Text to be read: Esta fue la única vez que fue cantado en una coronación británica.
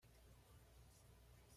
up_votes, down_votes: 1, 2